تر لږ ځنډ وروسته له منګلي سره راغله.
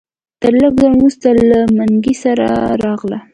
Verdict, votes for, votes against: accepted, 3, 0